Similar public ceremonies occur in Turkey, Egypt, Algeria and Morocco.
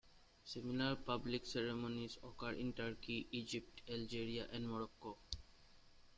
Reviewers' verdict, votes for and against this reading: rejected, 1, 2